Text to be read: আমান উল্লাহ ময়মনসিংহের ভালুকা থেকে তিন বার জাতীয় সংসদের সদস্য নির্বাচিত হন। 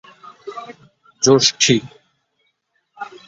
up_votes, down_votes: 0, 2